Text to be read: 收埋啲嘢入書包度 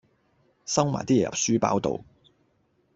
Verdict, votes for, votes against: accepted, 2, 0